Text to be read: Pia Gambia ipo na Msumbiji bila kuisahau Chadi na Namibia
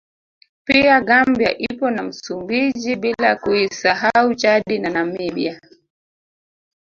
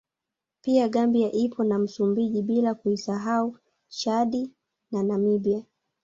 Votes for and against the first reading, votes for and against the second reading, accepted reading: 1, 2, 2, 0, second